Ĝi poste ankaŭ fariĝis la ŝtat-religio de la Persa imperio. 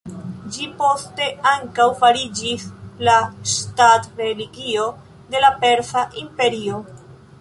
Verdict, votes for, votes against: accepted, 2, 0